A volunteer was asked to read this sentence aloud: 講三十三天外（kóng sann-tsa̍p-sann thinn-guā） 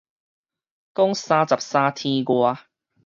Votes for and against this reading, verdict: 4, 0, accepted